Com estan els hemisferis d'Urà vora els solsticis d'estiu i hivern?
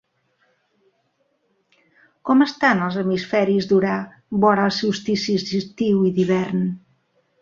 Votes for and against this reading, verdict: 1, 2, rejected